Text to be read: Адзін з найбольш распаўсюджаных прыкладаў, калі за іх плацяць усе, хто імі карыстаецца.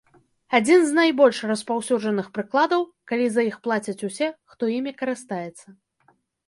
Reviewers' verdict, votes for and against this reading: rejected, 0, 2